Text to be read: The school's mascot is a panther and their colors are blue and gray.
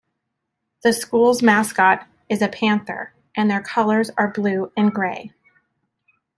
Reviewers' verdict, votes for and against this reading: accepted, 2, 0